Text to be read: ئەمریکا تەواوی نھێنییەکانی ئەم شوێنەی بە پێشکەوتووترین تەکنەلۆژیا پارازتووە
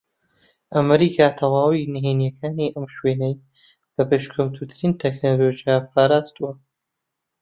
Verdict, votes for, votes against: rejected, 1, 2